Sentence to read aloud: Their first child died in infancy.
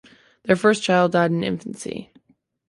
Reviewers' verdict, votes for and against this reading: accepted, 2, 0